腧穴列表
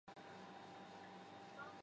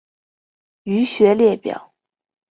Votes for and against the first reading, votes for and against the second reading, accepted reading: 0, 3, 6, 1, second